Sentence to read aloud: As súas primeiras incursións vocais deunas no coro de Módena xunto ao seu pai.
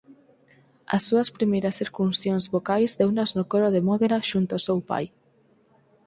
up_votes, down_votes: 0, 4